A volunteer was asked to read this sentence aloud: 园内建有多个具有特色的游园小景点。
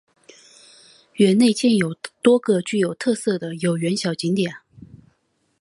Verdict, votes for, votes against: accepted, 2, 0